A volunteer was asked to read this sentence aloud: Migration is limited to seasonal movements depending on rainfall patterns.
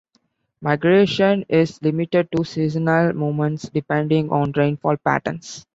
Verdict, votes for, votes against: rejected, 1, 2